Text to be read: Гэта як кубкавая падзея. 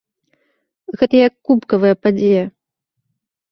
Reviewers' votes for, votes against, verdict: 2, 0, accepted